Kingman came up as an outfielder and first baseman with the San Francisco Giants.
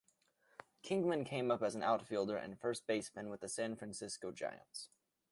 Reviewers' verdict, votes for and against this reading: accepted, 2, 0